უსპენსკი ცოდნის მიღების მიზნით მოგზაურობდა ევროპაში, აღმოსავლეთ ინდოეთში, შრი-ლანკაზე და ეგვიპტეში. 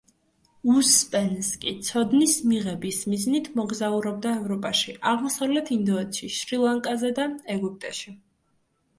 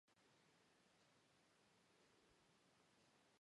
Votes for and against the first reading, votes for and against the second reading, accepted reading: 2, 0, 1, 2, first